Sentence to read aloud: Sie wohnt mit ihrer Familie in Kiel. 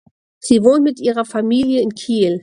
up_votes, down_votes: 2, 0